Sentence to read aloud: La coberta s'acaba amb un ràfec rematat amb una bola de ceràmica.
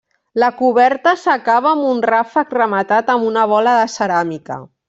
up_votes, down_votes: 2, 0